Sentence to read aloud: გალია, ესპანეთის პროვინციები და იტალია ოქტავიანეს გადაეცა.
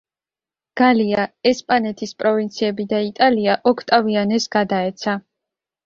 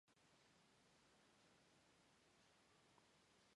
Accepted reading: first